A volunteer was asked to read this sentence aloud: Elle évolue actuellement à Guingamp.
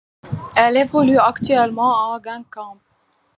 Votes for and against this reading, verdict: 2, 1, accepted